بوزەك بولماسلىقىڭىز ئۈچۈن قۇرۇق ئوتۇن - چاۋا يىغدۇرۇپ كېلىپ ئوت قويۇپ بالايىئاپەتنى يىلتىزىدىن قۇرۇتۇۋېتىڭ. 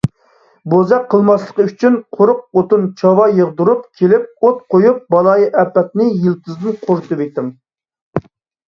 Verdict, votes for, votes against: rejected, 0, 2